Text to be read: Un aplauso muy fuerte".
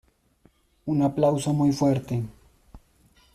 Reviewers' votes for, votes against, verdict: 2, 0, accepted